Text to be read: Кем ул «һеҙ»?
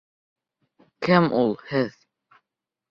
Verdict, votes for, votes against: accepted, 3, 0